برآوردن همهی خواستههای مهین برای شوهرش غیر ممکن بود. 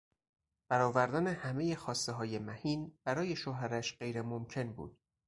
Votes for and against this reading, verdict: 4, 0, accepted